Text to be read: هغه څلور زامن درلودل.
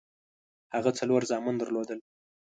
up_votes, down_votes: 2, 0